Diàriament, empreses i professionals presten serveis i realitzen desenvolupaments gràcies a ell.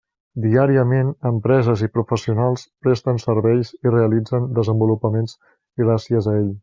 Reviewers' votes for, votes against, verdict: 3, 0, accepted